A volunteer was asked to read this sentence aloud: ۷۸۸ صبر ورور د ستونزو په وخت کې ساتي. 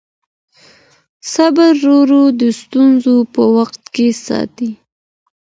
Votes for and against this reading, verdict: 0, 2, rejected